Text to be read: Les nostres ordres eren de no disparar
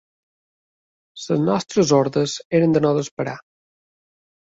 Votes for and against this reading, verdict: 1, 2, rejected